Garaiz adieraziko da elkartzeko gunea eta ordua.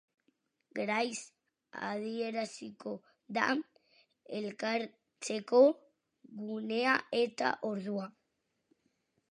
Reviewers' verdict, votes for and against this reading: accepted, 4, 0